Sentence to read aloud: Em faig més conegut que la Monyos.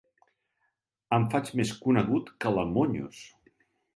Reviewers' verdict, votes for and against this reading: accepted, 2, 0